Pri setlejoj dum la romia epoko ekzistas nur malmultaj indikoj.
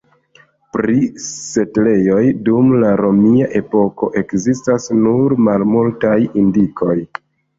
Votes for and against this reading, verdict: 1, 2, rejected